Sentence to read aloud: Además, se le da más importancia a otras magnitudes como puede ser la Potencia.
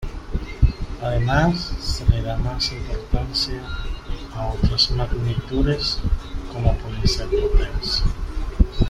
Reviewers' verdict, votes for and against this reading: rejected, 1, 2